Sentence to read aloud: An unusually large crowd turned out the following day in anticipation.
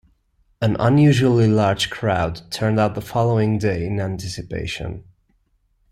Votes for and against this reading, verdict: 3, 0, accepted